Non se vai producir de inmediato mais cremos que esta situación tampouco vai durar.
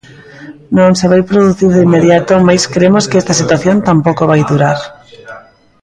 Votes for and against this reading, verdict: 0, 2, rejected